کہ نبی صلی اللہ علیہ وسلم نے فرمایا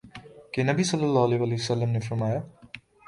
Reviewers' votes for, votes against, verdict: 2, 0, accepted